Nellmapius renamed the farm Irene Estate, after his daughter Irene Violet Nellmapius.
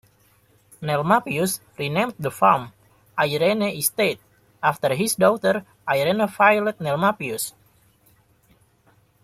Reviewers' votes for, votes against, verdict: 1, 2, rejected